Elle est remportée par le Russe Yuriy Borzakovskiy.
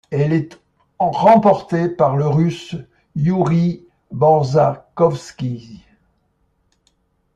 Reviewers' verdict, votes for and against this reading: rejected, 0, 2